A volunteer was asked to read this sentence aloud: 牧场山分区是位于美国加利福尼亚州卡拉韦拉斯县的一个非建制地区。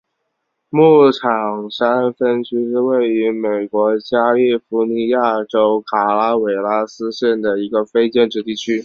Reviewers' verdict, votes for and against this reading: rejected, 1, 2